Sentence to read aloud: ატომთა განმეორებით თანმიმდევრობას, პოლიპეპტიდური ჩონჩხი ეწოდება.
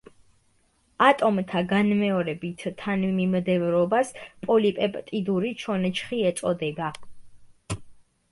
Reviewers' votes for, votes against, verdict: 2, 1, accepted